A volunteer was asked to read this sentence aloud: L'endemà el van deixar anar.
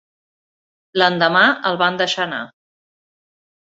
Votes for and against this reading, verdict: 6, 0, accepted